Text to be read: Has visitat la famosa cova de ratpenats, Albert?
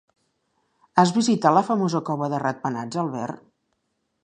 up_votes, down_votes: 2, 0